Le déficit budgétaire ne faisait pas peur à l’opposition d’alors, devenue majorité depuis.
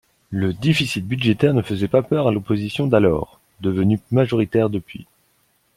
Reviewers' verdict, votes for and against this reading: rejected, 0, 2